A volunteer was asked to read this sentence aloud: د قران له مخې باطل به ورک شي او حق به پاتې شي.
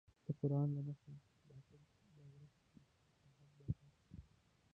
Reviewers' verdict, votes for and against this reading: rejected, 0, 2